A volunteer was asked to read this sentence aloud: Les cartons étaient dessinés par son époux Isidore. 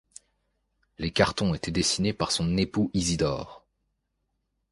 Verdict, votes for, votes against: accepted, 2, 0